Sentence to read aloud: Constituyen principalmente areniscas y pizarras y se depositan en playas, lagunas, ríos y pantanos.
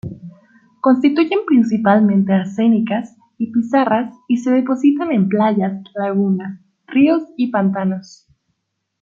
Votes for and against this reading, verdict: 0, 2, rejected